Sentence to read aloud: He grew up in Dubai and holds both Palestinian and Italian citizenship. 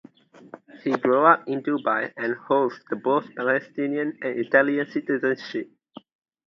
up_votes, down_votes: 2, 0